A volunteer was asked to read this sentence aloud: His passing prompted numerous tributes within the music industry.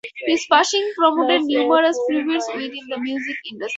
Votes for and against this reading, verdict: 2, 0, accepted